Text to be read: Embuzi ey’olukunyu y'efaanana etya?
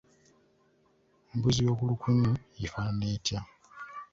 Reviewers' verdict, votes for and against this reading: rejected, 0, 2